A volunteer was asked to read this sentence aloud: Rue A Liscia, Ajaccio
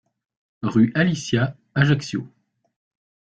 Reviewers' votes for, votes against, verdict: 2, 0, accepted